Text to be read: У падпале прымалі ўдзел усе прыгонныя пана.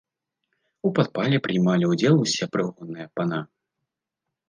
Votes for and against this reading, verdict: 1, 2, rejected